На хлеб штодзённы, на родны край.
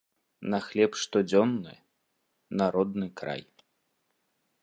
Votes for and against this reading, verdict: 3, 0, accepted